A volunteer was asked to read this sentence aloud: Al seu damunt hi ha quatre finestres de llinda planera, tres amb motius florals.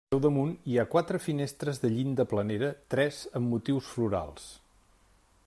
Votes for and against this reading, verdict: 1, 2, rejected